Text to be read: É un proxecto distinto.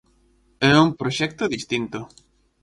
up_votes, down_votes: 4, 0